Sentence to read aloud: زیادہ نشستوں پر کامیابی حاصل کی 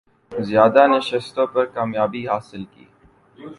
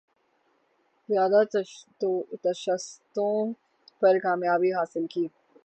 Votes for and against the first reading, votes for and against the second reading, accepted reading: 2, 0, 0, 3, first